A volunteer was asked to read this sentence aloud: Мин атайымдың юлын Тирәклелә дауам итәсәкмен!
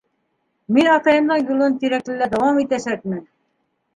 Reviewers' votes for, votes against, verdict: 2, 0, accepted